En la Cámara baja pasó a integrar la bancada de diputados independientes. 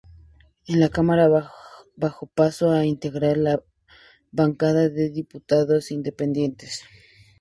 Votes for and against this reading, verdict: 0, 2, rejected